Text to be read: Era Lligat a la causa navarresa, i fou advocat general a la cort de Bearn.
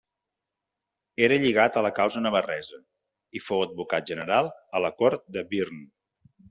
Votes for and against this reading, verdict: 0, 2, rejected